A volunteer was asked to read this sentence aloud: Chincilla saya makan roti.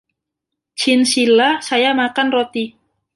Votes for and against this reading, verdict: 2, 1, accepted